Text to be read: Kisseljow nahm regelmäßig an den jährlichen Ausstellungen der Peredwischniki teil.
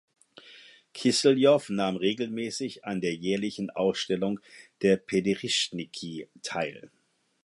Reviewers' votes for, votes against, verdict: 2, 4, rejected